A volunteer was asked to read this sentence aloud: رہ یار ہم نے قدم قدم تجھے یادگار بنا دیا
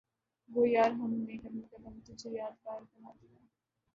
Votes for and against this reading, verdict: 0, 2, rejected